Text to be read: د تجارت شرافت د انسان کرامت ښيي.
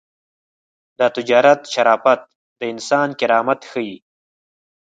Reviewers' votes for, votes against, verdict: 4, 0, accepted